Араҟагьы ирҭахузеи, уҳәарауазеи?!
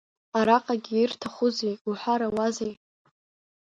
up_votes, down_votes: 2, 1